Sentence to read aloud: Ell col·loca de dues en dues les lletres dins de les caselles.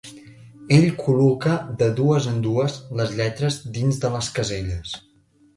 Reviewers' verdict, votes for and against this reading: accepted, 2, 0